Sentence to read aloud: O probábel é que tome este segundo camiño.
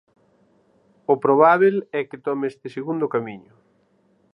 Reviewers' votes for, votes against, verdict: 6, 0, accepted